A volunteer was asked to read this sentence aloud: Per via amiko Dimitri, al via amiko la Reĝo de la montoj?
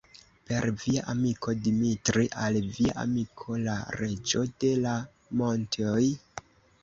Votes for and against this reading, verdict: 1, 2, rejected